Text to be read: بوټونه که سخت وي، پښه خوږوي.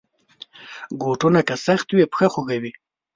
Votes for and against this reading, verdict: 1, 2, rejected